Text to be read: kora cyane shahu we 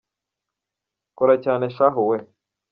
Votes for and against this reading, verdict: 2, 0, accepted